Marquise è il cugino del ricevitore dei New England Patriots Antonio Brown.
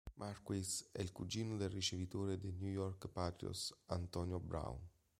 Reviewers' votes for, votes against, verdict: 1, 2, rejected